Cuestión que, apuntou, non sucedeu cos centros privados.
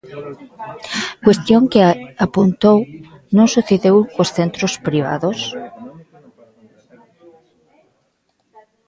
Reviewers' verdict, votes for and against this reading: rejected, 1, 2